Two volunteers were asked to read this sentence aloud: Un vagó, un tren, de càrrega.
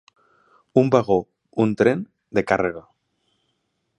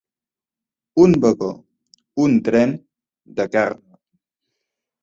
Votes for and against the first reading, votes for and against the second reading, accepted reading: 6, 0, 0, 2, first